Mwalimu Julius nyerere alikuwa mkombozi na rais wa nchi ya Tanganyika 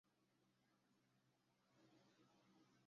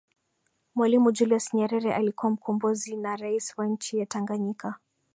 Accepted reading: second